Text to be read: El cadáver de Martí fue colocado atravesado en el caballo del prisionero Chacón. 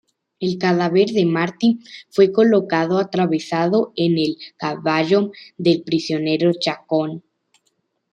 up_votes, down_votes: 2, 0